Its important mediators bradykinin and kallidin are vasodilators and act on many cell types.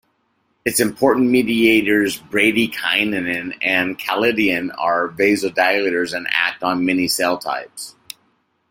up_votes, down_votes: 2, 1